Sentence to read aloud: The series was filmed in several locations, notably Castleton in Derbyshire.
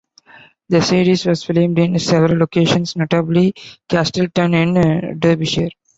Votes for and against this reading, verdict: 2, 1, accepted